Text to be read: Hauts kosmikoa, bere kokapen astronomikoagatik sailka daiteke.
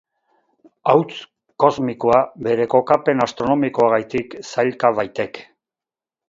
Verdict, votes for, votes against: rejected, 0, 4